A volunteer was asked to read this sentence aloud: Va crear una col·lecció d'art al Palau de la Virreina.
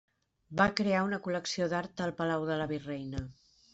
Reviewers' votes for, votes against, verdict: 3, 0, accepted